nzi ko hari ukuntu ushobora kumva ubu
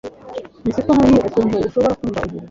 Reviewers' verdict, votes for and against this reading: rejected, 1, 2